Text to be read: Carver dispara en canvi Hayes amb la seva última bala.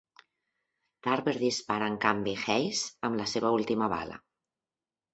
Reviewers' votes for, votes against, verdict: 0, 2, rejected